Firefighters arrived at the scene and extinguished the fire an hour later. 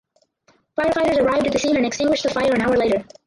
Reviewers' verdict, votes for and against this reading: rejected, 2, 4